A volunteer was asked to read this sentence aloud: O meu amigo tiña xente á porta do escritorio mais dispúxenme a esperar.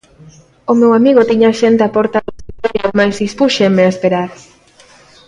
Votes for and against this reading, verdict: 0, 2, rejected